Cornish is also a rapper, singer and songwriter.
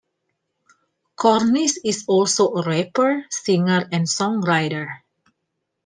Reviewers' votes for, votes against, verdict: 2, 0, accepted